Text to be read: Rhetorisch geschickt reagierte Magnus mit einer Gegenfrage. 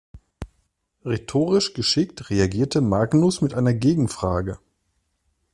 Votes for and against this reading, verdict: 2, 0, accepted